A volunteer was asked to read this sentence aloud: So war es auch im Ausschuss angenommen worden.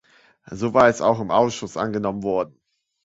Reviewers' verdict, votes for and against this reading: accepted, 2, 0